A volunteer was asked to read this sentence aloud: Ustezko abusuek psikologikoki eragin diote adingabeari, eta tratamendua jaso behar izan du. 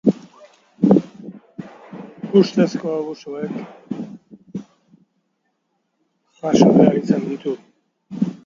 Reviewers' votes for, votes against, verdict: 0, 2, rejected